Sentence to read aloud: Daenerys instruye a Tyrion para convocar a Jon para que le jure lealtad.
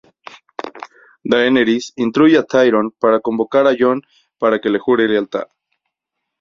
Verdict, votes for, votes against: rejected, 0, 2